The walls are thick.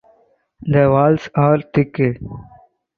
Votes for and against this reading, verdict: 4, 2, accepted